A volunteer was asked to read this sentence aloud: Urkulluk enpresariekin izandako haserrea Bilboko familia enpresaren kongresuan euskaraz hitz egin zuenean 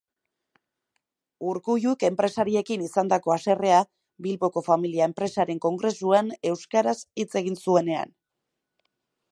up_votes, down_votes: 2, 0